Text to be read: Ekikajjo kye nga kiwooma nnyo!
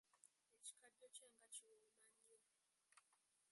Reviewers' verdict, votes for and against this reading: rejected, 0, 2